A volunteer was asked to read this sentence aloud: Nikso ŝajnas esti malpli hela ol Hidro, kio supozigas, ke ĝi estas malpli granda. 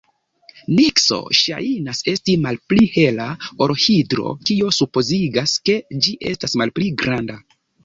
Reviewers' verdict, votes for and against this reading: rejected, 0, 2